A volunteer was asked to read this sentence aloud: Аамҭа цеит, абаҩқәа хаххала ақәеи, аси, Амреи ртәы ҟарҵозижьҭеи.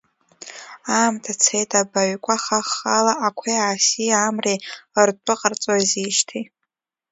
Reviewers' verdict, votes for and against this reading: accepted, 2, 1